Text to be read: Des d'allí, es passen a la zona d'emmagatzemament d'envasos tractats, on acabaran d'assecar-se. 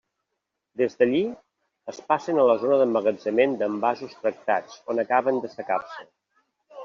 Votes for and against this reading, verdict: 1, 2, rejected